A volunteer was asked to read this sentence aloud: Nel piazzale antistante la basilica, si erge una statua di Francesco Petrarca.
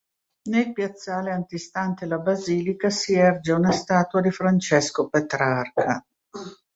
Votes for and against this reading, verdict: 2, 0, accepted